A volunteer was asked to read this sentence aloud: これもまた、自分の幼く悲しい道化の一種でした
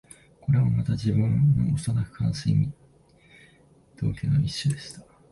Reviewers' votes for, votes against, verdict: 0, 3, rejected